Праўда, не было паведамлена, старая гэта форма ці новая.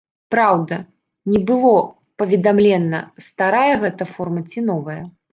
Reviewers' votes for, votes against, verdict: 2, 1, accepted